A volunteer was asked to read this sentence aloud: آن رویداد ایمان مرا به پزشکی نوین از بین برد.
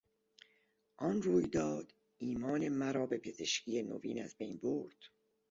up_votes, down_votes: 2, 0